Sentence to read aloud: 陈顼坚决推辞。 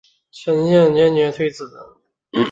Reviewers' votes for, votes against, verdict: 0, 3, rejected